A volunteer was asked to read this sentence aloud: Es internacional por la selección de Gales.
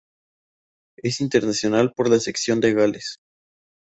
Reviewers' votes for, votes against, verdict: 2, 2, rejected